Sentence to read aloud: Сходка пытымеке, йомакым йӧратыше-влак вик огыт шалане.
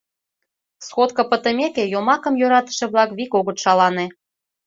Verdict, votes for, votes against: accepted, 2, 0